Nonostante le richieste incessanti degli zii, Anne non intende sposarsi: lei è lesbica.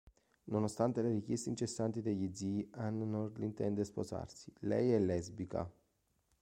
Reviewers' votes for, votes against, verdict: 2, 1, accepted